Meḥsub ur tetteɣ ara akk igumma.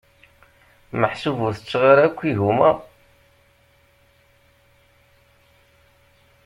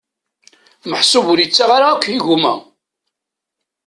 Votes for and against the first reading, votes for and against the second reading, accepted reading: 2, 0, 1, 2, first